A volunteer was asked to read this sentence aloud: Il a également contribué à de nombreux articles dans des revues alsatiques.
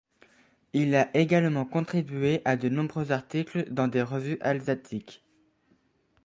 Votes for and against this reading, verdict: 2, 0, accepted